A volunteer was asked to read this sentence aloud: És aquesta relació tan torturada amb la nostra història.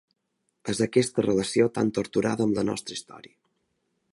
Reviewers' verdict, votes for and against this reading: accepted, 2, 0